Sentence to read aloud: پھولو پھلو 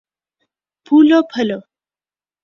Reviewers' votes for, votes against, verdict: 2, 0, accepted